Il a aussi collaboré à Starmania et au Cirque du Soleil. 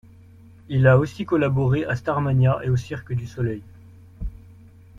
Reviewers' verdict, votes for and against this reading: rejected, 0, 2